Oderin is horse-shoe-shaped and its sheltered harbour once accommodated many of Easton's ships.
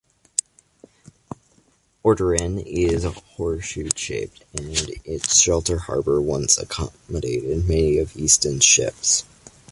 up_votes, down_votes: 2, 0